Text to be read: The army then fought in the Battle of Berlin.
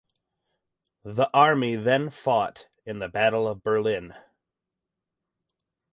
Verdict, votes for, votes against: rejected, 2, 2